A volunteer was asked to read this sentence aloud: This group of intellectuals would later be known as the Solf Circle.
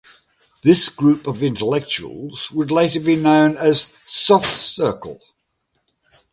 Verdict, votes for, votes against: rejected, 1, 2